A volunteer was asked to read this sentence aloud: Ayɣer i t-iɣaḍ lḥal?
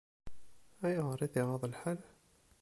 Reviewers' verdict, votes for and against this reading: accepted, 2, 0